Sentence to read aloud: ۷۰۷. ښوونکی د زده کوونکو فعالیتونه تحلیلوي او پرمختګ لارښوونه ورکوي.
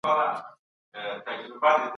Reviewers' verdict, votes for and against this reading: rejected, 0, 2